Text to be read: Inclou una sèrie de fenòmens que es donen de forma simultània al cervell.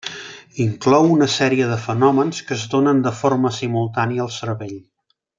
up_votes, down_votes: 2, 0